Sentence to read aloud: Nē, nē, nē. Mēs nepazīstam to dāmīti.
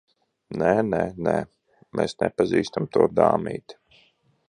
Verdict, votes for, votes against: accepted, 2, 0